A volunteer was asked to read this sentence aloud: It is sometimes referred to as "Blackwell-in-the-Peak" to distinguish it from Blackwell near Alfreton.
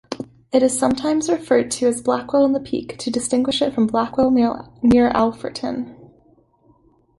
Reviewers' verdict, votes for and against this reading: rejected, 1, 2